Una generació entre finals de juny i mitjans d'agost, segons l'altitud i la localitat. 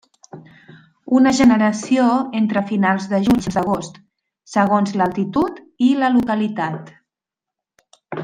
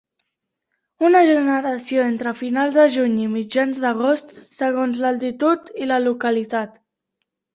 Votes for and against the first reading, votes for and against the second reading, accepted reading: 0, 2, 2, 0, second